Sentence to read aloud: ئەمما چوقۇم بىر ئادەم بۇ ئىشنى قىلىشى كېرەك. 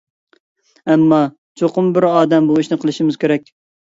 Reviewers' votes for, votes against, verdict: 0, 2, rejected